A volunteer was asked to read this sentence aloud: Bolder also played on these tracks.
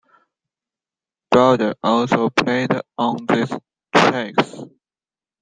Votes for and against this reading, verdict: 2, 1, accepted